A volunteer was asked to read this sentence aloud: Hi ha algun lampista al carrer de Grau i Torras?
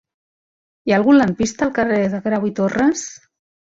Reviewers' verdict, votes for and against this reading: accepted, 2, 0